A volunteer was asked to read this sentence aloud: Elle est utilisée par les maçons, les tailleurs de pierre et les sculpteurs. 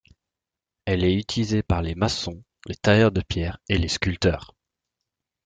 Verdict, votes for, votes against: accepted, 2, 0